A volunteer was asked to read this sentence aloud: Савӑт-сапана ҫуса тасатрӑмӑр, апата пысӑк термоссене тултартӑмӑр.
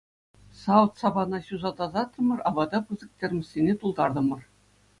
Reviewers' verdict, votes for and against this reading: accepted, 2, 0